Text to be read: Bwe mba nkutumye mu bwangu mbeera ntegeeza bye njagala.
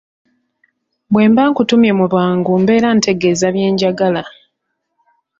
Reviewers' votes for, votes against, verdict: 2, 1, accepted